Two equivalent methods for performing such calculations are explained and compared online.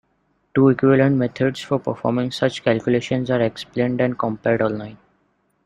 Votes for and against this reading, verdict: 2, 0, accepted